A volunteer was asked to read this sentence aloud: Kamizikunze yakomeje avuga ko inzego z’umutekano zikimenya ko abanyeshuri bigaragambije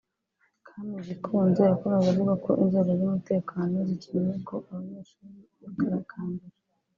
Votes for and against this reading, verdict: 2, 3, rejected